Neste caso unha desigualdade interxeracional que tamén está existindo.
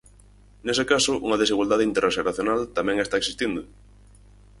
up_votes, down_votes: 0, 4